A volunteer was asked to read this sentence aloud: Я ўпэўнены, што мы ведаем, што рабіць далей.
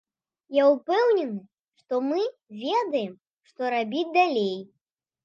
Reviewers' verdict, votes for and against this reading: accepted, 2, 0